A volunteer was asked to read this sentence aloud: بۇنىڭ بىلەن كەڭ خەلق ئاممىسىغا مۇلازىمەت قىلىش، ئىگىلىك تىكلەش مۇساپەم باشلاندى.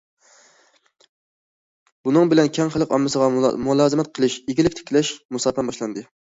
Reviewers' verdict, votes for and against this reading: rejected, 0, 2